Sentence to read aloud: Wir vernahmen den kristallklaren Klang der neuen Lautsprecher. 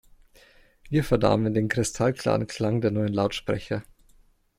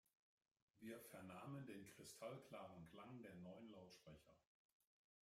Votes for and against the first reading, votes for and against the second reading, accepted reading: 2, 0, 1, 2, first